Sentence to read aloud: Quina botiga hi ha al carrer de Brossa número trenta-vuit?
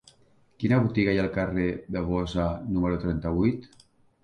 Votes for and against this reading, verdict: 1, 2, rejected